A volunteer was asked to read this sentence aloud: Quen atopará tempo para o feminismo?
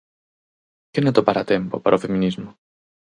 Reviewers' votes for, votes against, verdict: 4, 0, accepted